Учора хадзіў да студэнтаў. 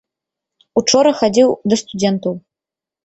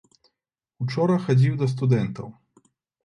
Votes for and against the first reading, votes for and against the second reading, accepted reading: 1, 2, 2, 0, second